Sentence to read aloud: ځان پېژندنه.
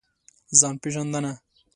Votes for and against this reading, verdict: 2, 0, accepted